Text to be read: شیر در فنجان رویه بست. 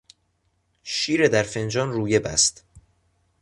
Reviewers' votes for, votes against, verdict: 3, 0, accepted